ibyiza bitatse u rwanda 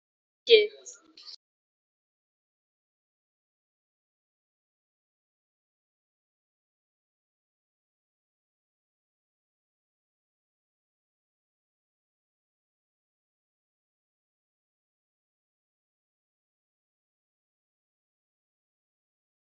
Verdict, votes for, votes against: rejected, 0, 3